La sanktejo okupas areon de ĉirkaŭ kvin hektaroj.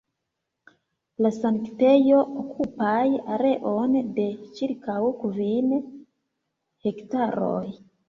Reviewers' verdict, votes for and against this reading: rejected, 1, 2